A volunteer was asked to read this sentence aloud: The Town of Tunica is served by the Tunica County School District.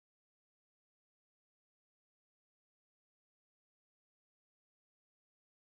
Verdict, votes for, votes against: rejected, 0, 2